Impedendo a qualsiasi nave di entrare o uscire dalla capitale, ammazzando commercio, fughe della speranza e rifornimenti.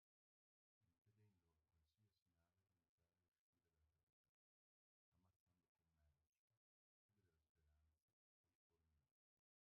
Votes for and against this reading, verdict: 0, 2, rejected